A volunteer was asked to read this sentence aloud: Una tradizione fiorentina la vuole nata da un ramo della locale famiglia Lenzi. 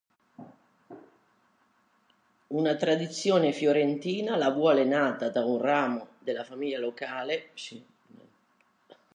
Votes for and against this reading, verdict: 0, 2, rejected